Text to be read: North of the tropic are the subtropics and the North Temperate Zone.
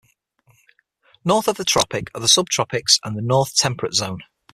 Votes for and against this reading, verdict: 6, 0, accepted